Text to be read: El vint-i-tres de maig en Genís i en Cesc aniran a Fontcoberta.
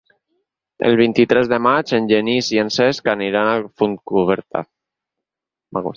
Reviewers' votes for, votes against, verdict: 0, 4, rejected